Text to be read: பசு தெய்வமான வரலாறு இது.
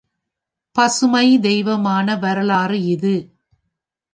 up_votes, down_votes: 0, 3